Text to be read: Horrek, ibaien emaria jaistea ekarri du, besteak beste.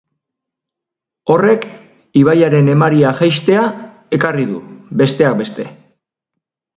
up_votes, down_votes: 0, 2